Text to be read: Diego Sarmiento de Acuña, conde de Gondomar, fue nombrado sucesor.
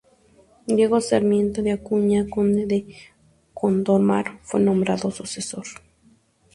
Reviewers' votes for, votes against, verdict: 4, 0, accepted